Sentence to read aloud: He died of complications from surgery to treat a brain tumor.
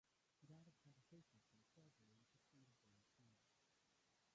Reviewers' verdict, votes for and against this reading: rejected, 0, 2